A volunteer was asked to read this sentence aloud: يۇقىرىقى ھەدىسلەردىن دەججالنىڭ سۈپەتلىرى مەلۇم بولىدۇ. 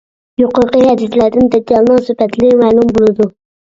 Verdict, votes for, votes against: rejected, 0, 2